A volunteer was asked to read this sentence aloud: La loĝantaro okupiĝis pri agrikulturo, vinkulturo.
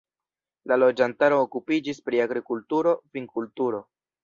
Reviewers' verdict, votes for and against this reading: accepted, 2, 0